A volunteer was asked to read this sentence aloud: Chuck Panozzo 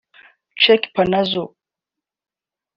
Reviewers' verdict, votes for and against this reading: rejected, 1, 2